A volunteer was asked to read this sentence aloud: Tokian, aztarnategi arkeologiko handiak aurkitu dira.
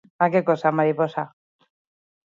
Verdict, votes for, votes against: rejected, 0, 4